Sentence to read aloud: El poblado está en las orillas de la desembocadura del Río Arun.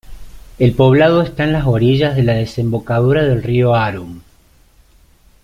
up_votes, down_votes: 2, 0